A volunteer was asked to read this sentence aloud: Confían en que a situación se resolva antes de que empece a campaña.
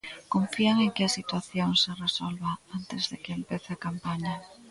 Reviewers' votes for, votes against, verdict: 1, 2, rejected